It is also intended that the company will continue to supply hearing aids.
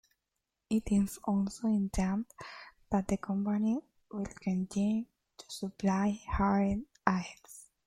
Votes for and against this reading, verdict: 0, 2, rejected